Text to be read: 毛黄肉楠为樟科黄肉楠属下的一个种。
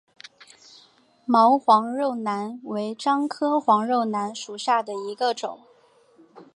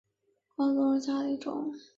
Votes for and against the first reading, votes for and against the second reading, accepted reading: 2, 1, 0, 2, first